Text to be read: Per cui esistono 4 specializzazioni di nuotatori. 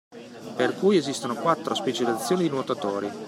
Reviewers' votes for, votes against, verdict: 0, 2, rejected